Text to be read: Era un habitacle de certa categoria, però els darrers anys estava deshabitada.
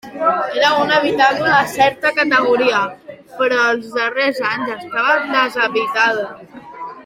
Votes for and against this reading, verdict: 1, 2, rejected